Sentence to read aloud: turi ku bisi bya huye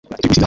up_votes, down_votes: 0, 2